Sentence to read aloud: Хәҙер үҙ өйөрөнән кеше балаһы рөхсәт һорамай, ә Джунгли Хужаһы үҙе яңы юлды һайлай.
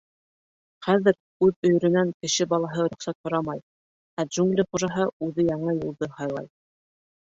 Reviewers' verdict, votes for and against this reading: accepted, 2, 0